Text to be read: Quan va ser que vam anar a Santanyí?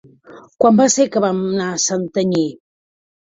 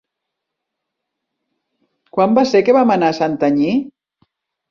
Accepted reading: second